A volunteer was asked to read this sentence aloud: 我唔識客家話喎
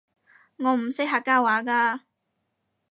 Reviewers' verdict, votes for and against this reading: rejected, 0, 4